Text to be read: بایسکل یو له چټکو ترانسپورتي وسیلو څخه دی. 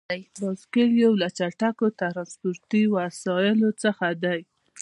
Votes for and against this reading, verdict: 2, 0, accepted